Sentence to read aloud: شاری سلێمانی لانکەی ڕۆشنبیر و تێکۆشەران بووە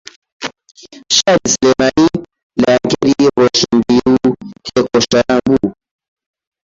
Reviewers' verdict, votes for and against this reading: rejected, 0, 2